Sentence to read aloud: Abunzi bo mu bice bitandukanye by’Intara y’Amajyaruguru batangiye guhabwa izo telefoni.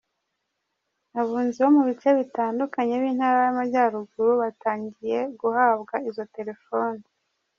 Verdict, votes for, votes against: rejected, 1, 2